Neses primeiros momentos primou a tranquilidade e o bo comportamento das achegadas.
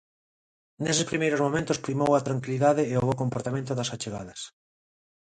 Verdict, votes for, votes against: accepted, 2, 0